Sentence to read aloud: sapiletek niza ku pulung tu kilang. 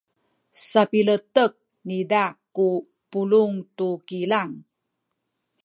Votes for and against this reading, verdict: 2, 0, accepted